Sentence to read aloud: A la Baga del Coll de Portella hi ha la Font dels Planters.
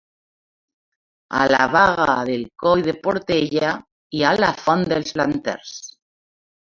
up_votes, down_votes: 2, 1